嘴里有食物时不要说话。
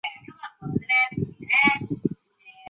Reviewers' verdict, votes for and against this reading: rejected, 0, 4